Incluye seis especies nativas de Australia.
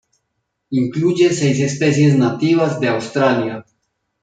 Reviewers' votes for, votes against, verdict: 0, 2, rejected